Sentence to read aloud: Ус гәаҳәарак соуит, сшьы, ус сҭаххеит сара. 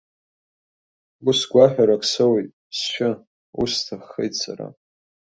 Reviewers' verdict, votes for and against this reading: accepted, 2, 0